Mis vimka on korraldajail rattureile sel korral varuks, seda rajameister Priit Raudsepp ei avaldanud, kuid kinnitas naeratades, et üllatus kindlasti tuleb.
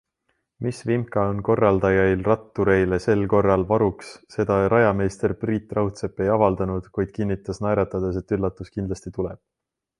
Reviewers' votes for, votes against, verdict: 2, 0, accepted